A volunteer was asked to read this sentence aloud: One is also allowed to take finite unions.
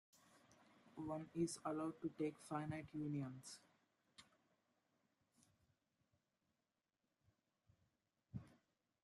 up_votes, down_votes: 0, 2